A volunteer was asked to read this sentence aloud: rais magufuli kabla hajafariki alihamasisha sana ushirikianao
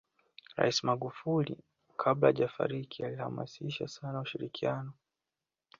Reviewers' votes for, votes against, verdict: 2, 1, accepted